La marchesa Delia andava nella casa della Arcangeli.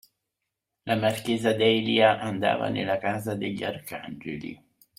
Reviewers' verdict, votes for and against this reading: rejected, 1, 2